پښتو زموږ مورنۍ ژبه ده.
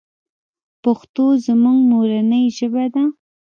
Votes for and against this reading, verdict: 2, 1, accepted